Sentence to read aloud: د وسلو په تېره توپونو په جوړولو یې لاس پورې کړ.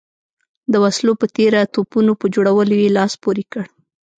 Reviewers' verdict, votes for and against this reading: accepted, 2, 0